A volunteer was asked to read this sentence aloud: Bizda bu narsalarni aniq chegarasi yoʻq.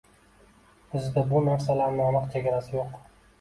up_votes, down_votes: 2, 1